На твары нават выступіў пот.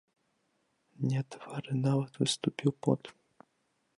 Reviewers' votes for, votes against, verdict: 0, 2, rejected